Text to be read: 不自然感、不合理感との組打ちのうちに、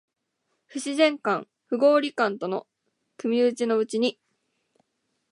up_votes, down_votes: 2, 0